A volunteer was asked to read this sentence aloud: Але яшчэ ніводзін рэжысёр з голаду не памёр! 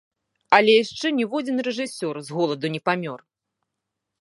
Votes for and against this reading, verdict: 2, 0, accepted